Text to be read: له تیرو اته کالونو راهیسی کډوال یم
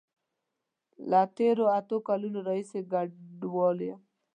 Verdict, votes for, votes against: rejected, 2, 3